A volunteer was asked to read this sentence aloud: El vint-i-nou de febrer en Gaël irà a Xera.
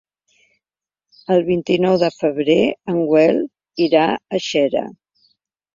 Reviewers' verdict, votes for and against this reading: rejected, 1, 2